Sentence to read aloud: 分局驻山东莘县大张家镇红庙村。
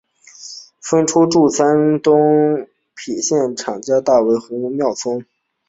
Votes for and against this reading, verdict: 0, 2, rejected